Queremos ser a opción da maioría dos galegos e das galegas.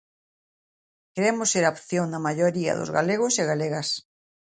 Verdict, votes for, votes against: rejected, 1, 2